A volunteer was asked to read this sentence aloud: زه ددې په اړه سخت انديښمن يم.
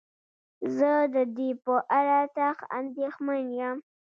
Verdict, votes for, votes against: accepted, 2, 0